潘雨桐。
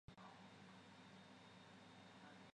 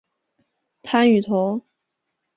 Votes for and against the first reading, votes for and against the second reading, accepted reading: 0, 2, 3, 0, second